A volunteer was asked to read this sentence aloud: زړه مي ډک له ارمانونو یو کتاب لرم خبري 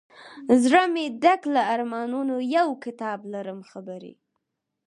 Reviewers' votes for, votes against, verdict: 4, 0, accepted